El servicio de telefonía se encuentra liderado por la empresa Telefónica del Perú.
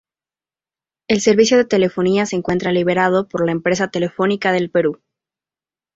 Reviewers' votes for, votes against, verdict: 2, 2, rejected